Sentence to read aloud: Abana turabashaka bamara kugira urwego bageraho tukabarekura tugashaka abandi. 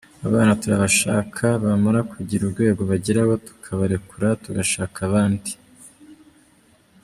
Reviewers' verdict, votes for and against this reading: rejected, 0, 2